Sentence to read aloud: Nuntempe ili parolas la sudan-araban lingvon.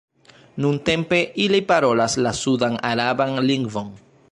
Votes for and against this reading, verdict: 1, 2, rejected